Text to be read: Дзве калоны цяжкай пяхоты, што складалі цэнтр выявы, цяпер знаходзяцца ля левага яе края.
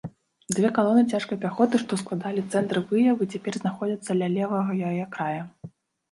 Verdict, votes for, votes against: rejected, 0, 2